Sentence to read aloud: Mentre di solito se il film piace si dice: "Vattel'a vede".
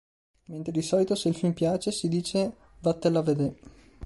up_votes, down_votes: 2, 1